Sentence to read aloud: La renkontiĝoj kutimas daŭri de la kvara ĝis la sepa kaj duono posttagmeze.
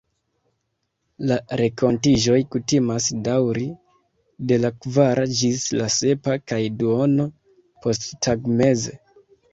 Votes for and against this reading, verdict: 2, 1, accepted